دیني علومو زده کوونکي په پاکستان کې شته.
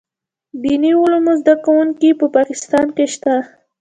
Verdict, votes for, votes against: rejected, 1, 2